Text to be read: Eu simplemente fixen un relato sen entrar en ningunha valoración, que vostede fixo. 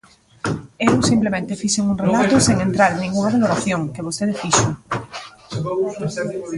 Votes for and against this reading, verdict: 0, 3, rejected